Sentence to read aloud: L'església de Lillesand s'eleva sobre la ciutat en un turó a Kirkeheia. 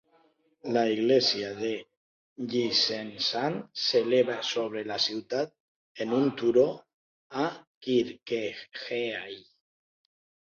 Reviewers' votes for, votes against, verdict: 2, 1, accepted